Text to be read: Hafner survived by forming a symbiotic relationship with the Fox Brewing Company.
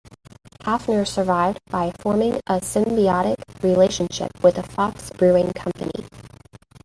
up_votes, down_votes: 2, 0